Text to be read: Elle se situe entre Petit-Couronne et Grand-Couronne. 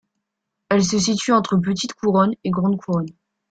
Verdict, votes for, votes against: rejected, 0, 2